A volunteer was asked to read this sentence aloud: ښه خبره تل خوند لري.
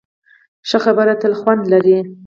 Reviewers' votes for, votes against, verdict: 8, 2, accepted